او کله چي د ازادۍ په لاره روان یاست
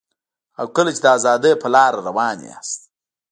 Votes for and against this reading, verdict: 3, 1, accepted